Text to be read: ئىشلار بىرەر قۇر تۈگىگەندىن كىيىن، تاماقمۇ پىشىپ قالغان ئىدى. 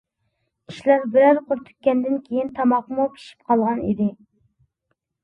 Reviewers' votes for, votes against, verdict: 0, 2, rejected